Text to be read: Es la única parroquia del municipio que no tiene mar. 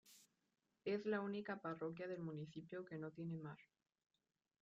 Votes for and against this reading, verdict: 2, 1, accepted